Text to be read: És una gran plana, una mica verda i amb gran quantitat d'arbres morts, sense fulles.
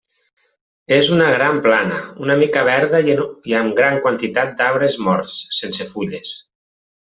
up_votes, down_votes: 0, 2